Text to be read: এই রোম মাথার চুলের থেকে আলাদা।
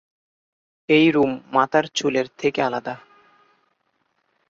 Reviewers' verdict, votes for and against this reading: accepted, 2, 0